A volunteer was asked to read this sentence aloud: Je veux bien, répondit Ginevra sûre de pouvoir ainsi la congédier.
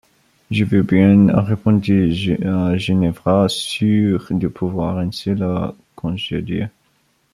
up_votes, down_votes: 0, 2